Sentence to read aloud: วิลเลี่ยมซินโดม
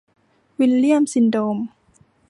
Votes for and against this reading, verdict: 2, 0, accepted